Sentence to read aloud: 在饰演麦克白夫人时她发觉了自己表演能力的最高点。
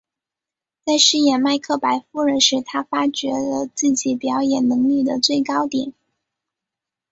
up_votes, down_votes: 2, 0